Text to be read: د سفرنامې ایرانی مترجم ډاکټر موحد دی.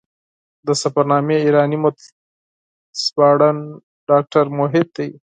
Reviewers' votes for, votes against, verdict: 0, 4, rejected